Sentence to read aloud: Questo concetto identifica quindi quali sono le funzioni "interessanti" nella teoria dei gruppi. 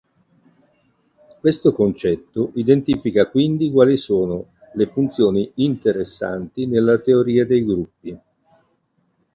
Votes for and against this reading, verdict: 3, 3, rejected